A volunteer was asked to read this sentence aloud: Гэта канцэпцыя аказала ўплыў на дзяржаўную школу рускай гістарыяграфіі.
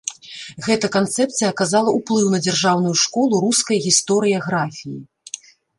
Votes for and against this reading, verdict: 1, 2, rejected